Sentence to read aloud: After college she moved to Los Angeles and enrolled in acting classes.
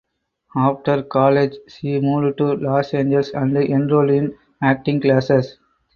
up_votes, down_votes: 4, 2